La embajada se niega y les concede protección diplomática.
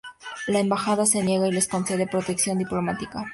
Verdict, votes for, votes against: accepted, 2, 0